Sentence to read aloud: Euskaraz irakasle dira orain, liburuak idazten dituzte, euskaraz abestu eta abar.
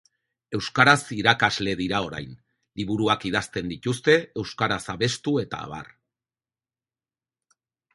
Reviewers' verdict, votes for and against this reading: accepted, 8, 0